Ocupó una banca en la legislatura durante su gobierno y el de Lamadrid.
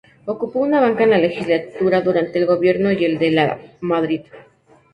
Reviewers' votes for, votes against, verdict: 0, 2, rejected